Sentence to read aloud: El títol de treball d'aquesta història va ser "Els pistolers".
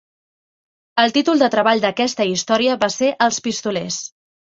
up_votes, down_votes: 3, 0